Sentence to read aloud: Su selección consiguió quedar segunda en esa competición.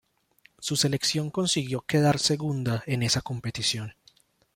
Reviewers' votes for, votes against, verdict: 1, 2, rejected